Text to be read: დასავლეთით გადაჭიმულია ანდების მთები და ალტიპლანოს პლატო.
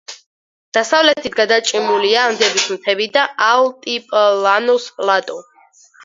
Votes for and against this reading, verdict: 4, 2, accepted